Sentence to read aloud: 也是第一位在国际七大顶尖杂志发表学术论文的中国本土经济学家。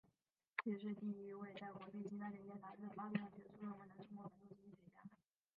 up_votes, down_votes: 0, 3